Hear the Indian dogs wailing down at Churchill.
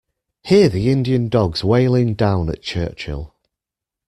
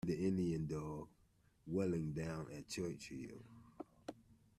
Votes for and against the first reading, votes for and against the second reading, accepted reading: 2, 0, 0, 2, first